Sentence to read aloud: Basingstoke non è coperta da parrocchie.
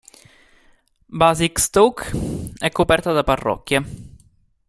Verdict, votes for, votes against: rejected, 0, 2